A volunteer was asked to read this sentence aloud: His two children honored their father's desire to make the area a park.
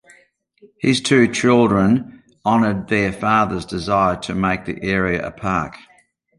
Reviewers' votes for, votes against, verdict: 2, 0, accepted